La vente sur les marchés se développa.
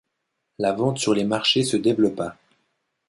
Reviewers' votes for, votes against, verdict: 2, 0, accepted